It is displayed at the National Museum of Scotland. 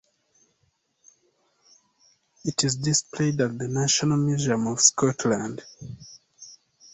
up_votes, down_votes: 2, 0